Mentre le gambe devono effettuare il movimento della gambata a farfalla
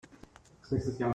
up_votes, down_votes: 0, 2